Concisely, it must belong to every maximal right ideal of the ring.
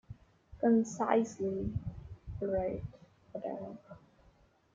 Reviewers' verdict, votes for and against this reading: rejected, 0, 2